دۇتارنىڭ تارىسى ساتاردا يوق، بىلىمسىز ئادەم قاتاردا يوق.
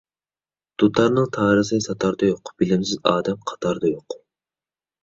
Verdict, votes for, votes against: accepted, 2, 0